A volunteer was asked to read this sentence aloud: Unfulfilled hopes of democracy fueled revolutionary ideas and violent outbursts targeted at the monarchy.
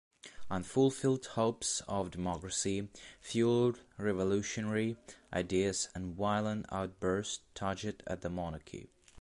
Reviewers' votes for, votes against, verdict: 2, 2, rejected